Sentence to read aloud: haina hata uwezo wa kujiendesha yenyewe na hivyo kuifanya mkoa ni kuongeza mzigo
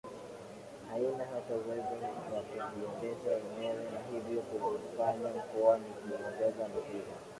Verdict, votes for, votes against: rejected, 0, 2